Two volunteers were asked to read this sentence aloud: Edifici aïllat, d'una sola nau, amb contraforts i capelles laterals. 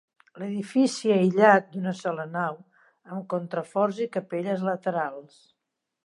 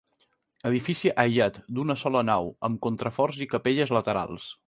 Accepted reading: second